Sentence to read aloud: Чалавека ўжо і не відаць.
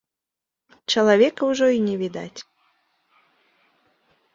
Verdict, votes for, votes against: accepted, 2, 0